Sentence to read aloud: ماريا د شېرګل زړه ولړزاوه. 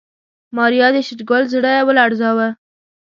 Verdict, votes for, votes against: accepted, 2, 0